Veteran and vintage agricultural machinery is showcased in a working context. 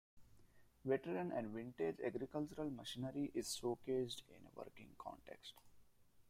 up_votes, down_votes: 1, 2